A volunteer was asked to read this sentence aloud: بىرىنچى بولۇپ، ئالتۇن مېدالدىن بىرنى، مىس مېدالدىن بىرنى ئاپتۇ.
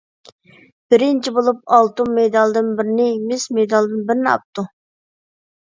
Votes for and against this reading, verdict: 2, 0, accepted